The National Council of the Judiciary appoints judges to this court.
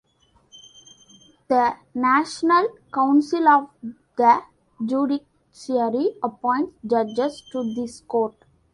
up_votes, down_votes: 2, 0